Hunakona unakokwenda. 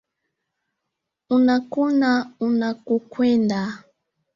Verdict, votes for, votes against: accepted, 4, 3